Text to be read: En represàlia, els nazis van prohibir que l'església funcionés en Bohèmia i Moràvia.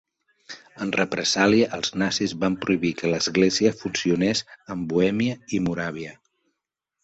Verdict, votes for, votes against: accepted, 2, 0